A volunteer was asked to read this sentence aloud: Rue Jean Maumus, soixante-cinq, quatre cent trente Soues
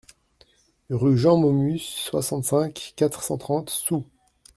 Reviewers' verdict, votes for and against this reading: accepted, 2, 0